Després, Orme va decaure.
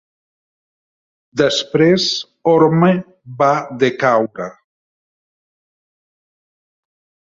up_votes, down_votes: 3, 0